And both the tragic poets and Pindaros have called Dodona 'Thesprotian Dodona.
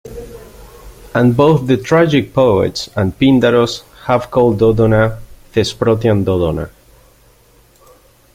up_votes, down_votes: 2, 0